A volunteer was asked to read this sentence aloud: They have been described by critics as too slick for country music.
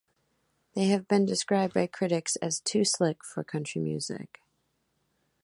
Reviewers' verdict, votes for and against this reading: accepted, 2, 0